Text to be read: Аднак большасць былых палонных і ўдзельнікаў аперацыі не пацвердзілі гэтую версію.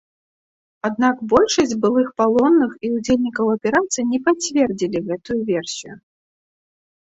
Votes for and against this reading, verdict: 2, 0, accepted